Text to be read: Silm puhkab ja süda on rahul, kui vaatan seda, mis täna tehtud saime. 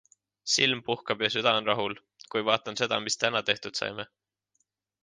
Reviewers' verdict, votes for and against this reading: accepted, 2, 1